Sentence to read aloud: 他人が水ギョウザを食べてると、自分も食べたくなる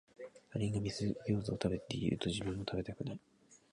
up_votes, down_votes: 0, 2